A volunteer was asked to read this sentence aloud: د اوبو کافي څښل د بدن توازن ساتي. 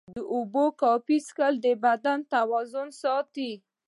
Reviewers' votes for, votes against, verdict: 2, 0, accepted